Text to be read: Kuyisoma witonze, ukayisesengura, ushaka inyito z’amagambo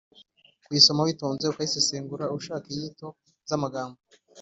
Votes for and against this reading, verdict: 2, 0, accepted